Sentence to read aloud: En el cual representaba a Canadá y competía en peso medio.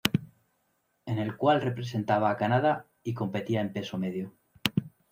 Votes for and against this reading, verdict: 2, 0, accepted